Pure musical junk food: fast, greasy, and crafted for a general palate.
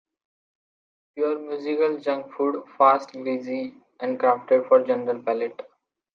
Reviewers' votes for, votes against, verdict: 2, 1, accepted